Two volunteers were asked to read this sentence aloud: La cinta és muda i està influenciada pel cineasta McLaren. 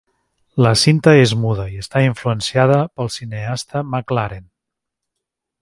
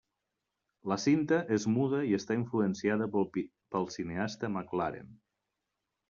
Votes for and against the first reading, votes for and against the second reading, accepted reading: 3, 0, 1, 2, first